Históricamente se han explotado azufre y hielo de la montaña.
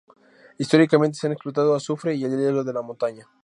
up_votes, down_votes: 0, 2